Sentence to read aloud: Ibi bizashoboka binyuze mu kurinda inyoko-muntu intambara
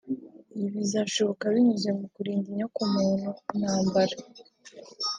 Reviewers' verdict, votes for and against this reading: accepted, 3, 0